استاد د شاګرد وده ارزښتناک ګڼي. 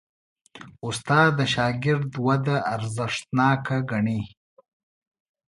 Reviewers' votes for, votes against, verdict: 2, 0, accepted